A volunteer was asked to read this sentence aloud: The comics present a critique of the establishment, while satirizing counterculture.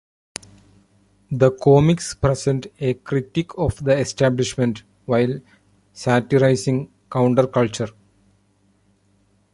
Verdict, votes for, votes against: rejected, 1, 2